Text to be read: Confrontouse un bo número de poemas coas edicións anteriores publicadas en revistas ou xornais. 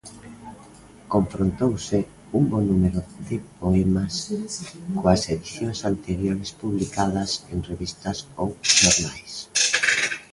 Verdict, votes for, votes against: rejected, 1, 2